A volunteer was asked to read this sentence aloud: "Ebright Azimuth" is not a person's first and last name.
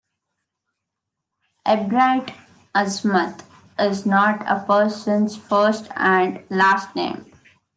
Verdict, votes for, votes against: rejected, 1, 2